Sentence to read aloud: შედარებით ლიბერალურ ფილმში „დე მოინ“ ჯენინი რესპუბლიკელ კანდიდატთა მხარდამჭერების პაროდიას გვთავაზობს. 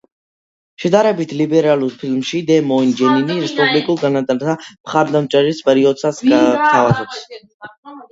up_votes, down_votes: 2, 1